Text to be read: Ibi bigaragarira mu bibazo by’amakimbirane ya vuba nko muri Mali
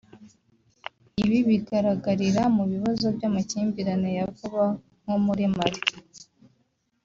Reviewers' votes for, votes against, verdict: 0, 2, rejected